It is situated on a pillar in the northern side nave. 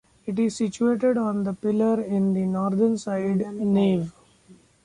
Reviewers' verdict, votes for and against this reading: rejected, 1, 2